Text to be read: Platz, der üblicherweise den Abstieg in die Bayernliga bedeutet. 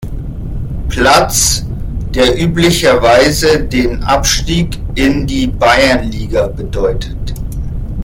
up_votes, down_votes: 2, 0